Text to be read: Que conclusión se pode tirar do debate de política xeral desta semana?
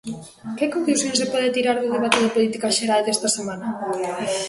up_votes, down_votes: 0, 2